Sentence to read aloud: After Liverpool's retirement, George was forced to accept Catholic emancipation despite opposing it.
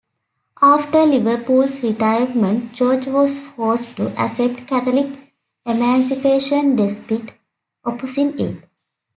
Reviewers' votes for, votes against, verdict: 2, 1, accepted